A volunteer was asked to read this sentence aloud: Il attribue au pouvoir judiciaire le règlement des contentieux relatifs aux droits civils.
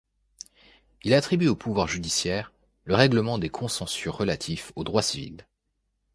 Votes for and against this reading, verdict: 0, 2, rejected